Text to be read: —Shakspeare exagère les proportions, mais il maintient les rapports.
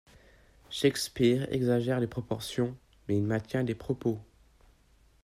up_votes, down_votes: 0, 2